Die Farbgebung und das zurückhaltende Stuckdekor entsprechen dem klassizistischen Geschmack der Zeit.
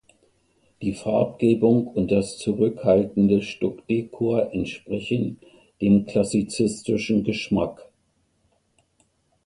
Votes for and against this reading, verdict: 0, 2, rejected